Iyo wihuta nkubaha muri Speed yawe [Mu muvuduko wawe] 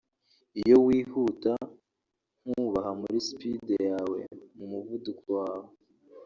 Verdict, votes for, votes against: rejected, 0, 2